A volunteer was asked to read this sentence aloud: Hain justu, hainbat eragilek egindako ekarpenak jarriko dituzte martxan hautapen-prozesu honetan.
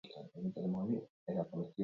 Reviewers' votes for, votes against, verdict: 0, 2, rejected